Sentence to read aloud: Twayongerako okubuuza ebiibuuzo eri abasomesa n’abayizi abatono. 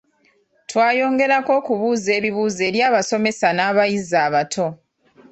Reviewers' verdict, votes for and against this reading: rejected, 1, 2